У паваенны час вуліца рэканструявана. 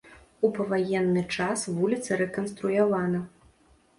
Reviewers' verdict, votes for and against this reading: accepted, 2, 0